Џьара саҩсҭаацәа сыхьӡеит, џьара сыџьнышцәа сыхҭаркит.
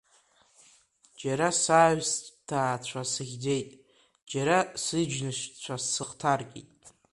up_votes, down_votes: 1, 2